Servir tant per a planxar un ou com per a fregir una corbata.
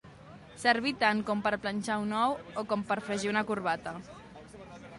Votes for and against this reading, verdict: 1, 2, rejected